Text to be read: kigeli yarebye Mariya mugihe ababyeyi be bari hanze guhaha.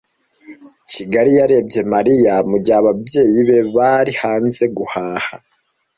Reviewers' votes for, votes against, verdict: 2, 1, accepted